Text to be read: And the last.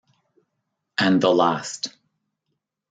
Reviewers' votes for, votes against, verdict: 2, 0, accepted